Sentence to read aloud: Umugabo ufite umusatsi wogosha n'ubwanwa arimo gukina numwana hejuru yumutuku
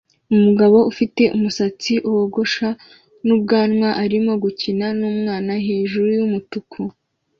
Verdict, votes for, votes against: accepted, 2, 0